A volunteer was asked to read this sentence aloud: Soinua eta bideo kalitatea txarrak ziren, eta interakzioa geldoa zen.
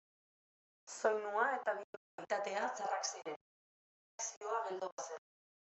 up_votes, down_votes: 0, 2